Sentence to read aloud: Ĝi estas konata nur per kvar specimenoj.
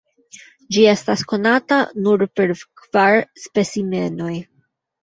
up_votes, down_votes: 2, 0